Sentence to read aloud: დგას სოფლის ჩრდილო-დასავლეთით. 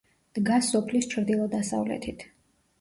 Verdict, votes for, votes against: rejected, 1, 2